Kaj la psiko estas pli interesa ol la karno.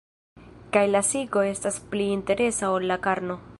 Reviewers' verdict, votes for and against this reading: accepted, 2, 0